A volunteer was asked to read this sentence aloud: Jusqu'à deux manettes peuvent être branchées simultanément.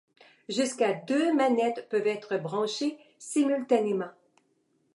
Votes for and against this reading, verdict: 2, 0, accepted